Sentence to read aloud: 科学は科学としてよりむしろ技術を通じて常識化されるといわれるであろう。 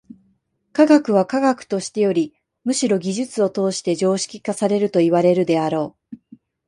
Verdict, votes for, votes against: rejected, 0, 2